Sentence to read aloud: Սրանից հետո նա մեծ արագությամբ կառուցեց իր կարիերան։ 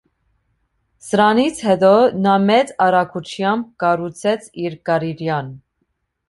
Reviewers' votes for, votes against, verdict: 1, 2, rejected